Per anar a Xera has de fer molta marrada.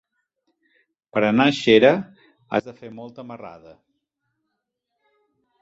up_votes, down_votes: 4, 3